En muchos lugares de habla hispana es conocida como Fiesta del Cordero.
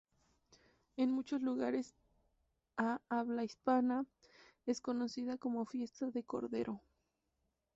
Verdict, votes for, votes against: rejected, 0, 2